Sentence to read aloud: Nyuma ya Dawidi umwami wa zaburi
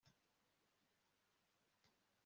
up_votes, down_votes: 2, 1